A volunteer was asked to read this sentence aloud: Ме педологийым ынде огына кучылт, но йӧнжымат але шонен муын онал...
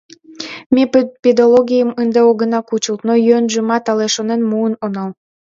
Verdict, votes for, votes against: rejected, 0, 2